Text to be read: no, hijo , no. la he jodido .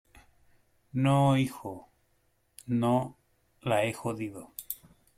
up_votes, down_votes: 2, 0